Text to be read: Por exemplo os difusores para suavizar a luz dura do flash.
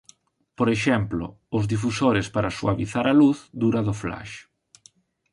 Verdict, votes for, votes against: rejected, 1, 2